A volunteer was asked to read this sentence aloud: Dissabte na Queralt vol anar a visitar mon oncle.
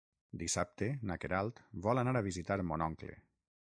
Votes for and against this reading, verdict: 6, 0, accepted